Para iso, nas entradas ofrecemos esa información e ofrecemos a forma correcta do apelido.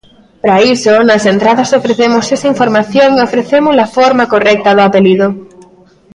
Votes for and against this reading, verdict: 2, 0, accepted